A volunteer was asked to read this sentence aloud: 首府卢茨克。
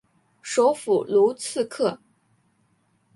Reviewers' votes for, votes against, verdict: 2, 0, accepted